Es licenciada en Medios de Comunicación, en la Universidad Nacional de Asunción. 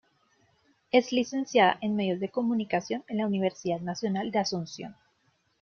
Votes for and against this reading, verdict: 2, 1, accepted